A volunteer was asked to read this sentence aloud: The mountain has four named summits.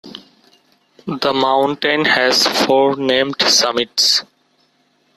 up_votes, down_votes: 2, 1